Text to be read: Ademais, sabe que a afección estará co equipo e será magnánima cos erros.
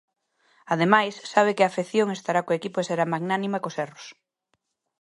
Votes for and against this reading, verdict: 2, 0, accepted